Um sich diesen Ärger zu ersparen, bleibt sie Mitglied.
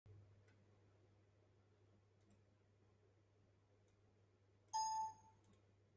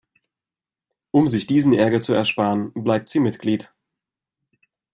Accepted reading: second